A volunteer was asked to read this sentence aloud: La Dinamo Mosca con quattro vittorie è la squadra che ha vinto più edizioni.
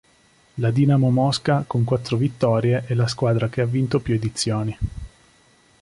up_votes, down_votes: 2, 0